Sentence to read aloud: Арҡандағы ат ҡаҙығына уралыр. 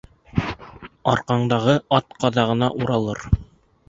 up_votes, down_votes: 1, 2